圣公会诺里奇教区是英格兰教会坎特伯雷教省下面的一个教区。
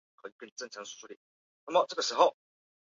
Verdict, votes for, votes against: rejected, 2, 4